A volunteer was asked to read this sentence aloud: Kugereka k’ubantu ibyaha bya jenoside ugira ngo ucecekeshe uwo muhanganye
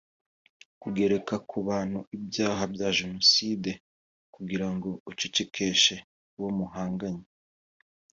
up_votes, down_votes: 2, 1